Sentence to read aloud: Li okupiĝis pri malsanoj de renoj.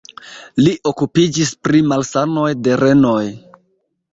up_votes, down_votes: 2, 0